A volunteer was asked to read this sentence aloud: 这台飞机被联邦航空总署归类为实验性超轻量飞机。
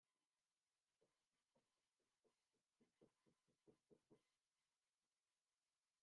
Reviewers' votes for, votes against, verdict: 0, 2, rejected